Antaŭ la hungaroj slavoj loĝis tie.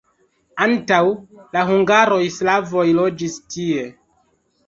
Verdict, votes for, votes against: accepted, 2, 0